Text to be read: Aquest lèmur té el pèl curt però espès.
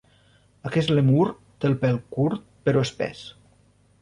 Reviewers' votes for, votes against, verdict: 1, 2, rejected